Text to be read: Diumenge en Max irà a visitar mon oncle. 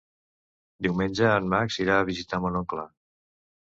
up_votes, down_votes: 2, 0